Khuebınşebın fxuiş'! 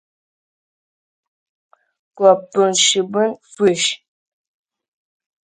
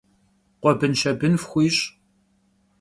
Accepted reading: second